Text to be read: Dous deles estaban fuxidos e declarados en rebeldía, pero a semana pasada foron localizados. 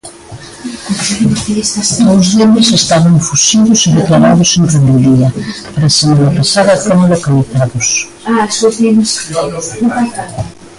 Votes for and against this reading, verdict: 0, 2, rejected